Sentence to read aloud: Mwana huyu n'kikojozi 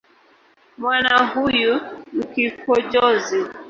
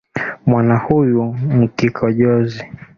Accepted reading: second